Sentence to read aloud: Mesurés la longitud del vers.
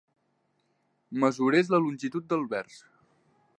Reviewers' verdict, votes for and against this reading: accepted, 2, 0